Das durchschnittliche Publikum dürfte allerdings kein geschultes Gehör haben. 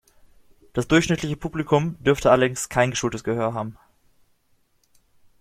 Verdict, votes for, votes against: rejected, 1, 2